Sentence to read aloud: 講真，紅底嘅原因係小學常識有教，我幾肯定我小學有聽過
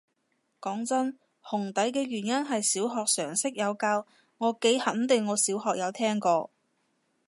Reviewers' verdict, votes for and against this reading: accepted, 2, 0